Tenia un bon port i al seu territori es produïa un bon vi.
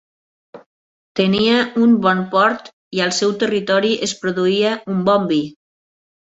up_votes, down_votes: 2, 0